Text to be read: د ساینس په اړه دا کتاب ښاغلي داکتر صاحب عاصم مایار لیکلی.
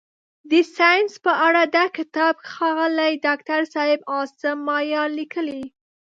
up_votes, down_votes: 2, 0